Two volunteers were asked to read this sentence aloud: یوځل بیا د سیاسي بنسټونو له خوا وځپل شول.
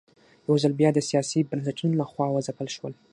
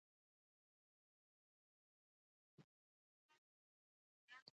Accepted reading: first